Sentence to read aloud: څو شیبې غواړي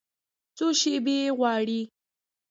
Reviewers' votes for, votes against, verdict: 1, 2, rejected